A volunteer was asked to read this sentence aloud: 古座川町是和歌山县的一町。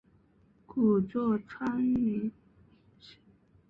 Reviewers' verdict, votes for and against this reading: rejected, 0, 2